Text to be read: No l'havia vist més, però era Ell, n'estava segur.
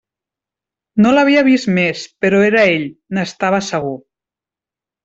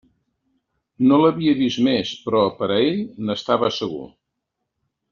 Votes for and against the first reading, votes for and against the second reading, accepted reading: 3, 0, 0, 2, first